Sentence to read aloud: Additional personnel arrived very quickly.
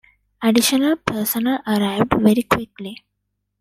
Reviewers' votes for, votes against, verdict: 2, 1, accepted